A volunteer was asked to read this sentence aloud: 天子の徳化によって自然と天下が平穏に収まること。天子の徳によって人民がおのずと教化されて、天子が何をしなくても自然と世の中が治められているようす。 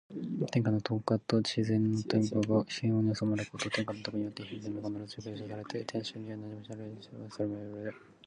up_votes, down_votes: 1, 2